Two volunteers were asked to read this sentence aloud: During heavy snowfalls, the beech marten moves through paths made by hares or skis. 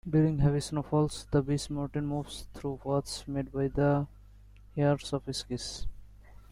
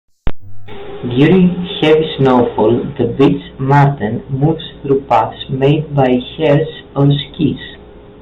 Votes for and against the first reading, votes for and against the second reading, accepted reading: 1, 2, 2, 1, second